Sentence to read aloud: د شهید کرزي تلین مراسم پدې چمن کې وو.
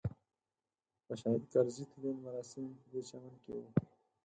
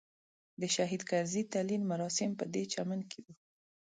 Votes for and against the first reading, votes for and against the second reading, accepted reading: 2, 4, 2, 1, second